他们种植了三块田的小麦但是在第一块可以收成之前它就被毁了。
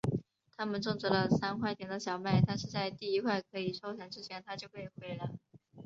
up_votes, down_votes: 2, 1